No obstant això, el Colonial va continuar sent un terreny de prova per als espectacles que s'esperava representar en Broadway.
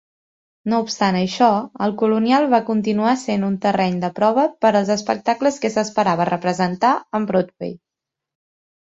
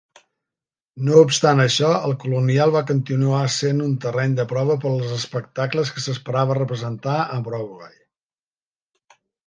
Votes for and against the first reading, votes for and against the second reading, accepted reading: 2, 1, 2, 3, first